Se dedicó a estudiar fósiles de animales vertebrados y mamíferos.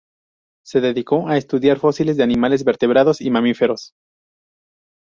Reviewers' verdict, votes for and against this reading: accepted, 2, 0